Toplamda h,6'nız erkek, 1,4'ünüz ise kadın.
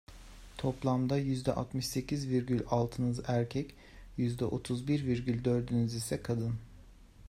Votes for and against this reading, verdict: 0, 2, rejected